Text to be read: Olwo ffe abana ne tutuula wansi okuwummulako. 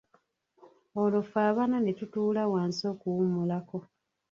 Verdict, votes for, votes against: rejected, 0, 2